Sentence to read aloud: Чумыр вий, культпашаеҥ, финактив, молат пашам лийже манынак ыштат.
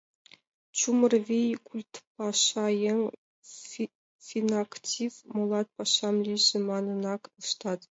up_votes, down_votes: 0, 3